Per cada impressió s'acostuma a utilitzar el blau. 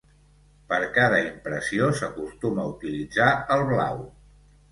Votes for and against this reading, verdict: 2, 0, accepted